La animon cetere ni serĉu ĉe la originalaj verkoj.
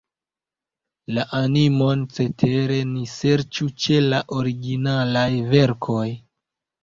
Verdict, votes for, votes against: accepted, 2, 0